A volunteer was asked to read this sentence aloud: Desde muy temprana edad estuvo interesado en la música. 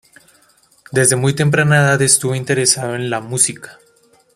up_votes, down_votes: 2, 1